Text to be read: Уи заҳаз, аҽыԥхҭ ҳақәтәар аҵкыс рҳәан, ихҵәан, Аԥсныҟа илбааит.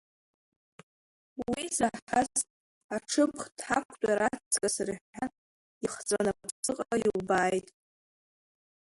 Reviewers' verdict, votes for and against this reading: rejected, 1, 2